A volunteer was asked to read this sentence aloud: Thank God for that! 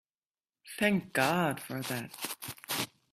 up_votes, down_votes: 2, 0